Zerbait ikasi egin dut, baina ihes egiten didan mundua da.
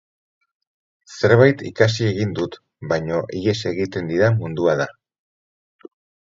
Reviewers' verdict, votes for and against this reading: accepted, 4, 0